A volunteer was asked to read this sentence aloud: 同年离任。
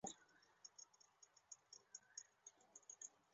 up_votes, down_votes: 0, 2